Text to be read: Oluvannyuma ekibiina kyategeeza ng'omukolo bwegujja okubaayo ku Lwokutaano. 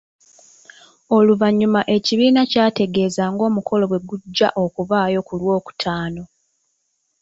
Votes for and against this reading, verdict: 2, 1, accepted